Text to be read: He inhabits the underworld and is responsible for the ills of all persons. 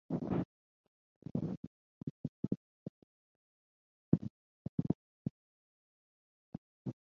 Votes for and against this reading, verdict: 0, 4, rejected